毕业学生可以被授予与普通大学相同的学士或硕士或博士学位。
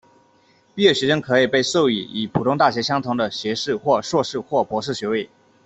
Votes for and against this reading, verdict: 2, 0, accepted